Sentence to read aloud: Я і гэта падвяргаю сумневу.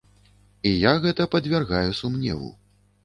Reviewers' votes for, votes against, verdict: 0, 2, rejected